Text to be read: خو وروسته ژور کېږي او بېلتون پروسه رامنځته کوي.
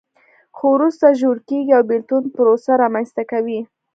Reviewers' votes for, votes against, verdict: 2, 0, accepted